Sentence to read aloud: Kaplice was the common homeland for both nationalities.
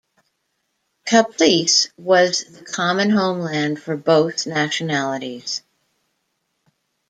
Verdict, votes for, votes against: rejected, 1, 2